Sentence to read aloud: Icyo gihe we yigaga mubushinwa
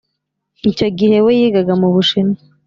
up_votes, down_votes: 3, 0